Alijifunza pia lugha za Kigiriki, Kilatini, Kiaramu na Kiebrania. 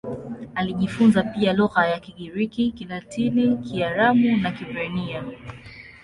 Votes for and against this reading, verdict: 0, 2, rejected